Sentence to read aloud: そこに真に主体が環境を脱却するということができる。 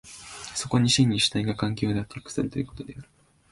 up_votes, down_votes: 1, 2